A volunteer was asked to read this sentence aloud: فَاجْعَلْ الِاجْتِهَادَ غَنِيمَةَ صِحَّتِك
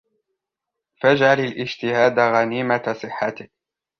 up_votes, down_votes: 2, 0